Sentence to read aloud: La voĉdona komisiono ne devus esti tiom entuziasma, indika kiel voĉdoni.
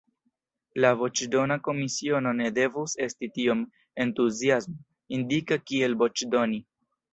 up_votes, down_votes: 0, 2